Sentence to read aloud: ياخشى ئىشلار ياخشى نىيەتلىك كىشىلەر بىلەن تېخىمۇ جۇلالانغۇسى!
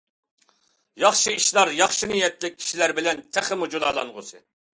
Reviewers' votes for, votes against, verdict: 2, 0, accepted